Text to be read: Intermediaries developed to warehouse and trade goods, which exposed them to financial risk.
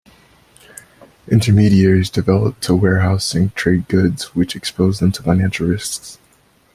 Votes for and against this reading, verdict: 2, 1, accepted